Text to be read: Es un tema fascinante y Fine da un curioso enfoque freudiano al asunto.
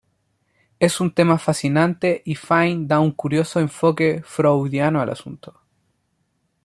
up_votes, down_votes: 2, 0